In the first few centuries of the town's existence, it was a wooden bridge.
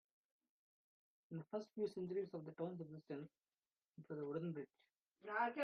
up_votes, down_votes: 0, 2